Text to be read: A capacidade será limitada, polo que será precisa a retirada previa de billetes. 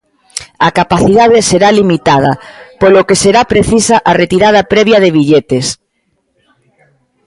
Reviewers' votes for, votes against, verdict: 2, 1, accepted